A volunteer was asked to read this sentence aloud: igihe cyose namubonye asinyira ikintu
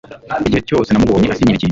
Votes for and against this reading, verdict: 1, 2, rejected